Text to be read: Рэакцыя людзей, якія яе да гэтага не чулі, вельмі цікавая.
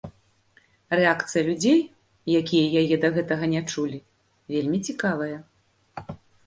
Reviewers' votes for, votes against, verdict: 2, 0, accepted